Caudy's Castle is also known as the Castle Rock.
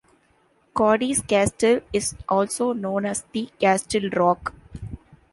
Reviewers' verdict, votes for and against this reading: rejected, 1, 2